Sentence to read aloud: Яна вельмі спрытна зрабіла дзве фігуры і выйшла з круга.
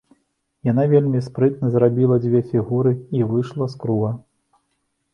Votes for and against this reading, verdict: 2, 0, accepted